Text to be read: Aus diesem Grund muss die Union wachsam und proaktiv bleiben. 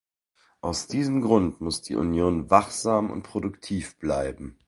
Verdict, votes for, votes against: rejected, 0, 2